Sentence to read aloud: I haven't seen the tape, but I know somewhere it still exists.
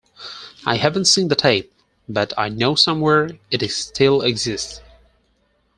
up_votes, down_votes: 2, 4